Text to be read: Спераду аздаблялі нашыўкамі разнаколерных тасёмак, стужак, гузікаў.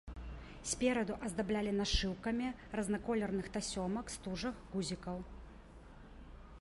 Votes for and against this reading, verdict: 2, 0, accepted